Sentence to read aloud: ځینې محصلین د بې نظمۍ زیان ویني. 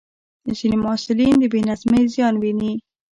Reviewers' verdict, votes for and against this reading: rejected, 1, 2